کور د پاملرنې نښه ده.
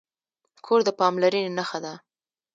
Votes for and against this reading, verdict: 2, 0, accepted